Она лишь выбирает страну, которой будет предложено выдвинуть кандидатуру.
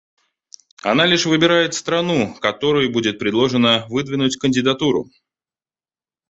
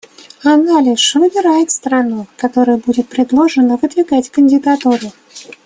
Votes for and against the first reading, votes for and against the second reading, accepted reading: 2, 0, 0, 2, first